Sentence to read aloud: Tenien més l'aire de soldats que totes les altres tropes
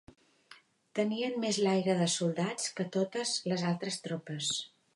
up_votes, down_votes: 3, 0